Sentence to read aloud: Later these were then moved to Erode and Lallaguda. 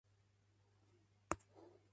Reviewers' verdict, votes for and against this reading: rejected, 0, 2